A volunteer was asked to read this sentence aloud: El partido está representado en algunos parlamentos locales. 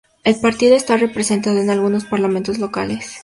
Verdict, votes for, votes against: accepted, 2, 0